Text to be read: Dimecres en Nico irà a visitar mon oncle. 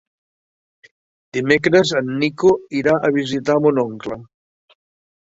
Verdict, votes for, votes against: accepted, 2, 0